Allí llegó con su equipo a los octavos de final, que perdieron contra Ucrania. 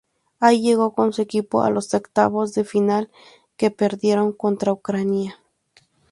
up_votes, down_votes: 2, 2